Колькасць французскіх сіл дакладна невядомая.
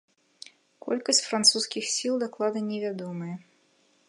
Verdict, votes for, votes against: rejected, 1, 2